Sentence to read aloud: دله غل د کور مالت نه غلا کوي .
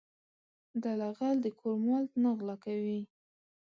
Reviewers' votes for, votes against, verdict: 2, 3, rejected